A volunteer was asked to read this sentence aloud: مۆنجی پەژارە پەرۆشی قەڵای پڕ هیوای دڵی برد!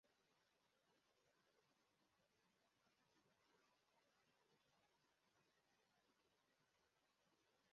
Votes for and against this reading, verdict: 0, 2, rejected